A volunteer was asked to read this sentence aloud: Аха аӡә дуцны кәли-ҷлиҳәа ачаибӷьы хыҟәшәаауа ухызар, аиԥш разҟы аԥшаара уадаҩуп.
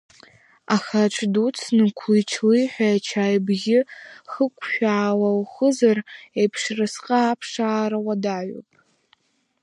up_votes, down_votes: 0, 2